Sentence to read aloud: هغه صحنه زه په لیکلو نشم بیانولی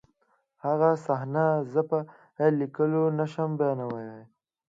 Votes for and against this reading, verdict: 2, 0, accepted